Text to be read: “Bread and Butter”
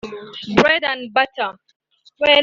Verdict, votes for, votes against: rejected, 0, 4